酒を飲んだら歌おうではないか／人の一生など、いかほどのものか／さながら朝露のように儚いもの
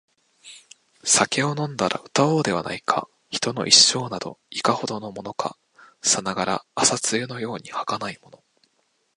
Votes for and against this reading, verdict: 2, 0, accepted